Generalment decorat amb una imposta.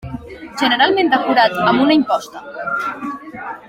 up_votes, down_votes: 3, 1